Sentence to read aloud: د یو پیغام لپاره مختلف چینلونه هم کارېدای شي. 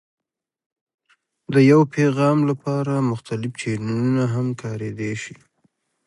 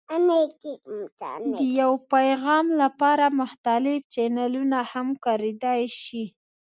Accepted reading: first